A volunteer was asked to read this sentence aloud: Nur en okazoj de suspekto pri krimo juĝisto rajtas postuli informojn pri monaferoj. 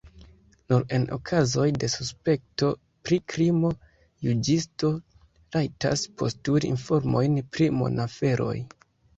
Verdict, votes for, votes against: accepted, 2, 1